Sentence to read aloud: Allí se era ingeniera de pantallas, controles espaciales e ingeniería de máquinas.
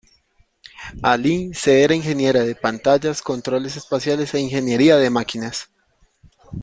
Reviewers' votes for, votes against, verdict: 0, 2, rejected